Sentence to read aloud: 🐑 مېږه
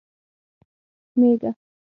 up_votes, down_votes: 3, 6